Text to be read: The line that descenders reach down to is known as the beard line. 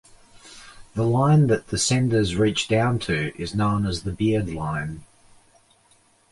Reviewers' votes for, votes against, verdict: 2, 0, accepted